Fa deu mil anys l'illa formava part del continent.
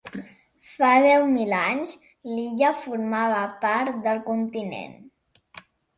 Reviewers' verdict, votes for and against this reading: accepted, 2, 0